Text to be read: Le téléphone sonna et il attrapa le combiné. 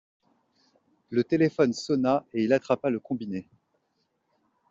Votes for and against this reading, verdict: 2, 0, accepted